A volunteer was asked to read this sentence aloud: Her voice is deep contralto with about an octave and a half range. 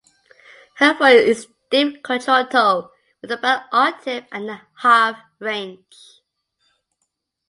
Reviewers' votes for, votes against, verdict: 2, 1, accepted